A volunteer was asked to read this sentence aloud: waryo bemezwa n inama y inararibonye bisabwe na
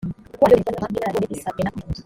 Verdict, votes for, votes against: rejected, 1, 2